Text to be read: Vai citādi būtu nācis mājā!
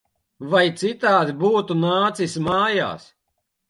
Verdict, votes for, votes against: rejected, 1, 2